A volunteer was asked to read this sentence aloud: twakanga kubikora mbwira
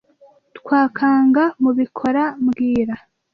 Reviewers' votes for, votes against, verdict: 1, 2, rejected